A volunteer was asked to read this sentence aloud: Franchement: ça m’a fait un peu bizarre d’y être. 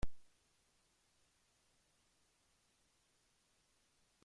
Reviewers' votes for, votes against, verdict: 0, 2, rejected